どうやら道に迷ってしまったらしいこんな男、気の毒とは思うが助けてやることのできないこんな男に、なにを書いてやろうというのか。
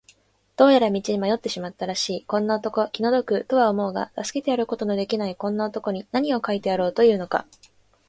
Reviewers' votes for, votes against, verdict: 2, 0, accepted